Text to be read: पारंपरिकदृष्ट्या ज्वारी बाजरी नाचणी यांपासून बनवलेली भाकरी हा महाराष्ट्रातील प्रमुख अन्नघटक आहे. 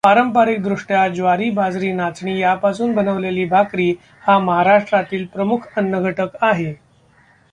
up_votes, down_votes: 2, 0